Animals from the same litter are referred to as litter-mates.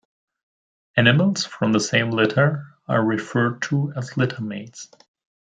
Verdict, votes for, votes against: accepted, 2, 0